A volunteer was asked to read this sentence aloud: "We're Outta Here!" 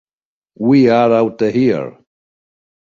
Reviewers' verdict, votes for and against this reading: rejected, 1, 2